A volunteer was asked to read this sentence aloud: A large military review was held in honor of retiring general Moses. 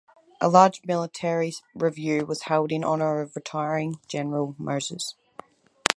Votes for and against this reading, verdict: 2, 2, rejected